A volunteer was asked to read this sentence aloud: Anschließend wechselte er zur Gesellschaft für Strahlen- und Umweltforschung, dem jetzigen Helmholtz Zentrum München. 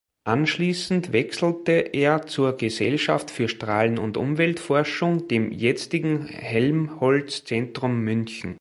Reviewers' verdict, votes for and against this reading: rejected, 0, 2